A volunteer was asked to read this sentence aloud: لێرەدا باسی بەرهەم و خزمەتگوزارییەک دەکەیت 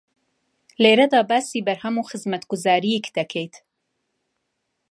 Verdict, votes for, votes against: accepted, 2, 0